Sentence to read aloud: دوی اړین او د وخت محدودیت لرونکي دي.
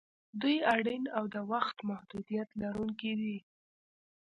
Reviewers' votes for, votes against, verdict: 2, 0, accepted